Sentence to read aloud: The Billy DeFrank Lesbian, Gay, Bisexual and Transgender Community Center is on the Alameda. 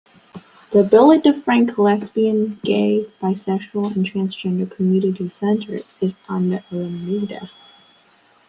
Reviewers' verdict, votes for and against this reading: rejected, 0, 2